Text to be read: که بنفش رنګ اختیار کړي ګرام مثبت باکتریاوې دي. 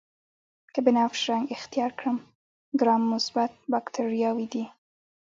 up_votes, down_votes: 0, 2